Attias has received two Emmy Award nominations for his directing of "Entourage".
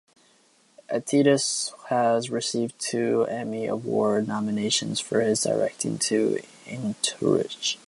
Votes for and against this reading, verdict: 2, 2, rejected